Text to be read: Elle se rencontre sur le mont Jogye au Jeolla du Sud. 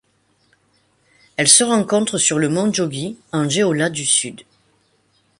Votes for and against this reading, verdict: 0, 2, rejected